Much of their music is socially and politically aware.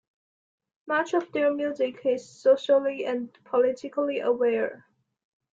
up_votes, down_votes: 2, 0